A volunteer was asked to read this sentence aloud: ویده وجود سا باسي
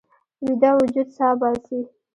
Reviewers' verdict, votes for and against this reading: rejected, 0, 2